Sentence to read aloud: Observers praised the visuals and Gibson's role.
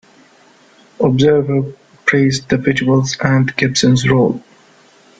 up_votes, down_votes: 1, 2